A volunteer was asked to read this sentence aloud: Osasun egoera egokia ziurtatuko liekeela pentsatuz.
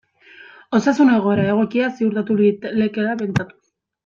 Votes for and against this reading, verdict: 0, 2, rejected